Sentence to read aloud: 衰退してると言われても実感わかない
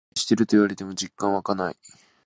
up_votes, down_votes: 0, 2